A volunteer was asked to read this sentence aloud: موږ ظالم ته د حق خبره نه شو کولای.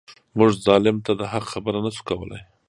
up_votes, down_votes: 2, 0